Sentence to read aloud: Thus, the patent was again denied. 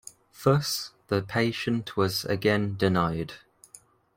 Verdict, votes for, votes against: rejected, 1, 2